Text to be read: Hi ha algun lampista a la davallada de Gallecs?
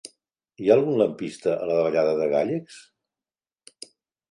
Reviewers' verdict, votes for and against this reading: rejected, 0, 2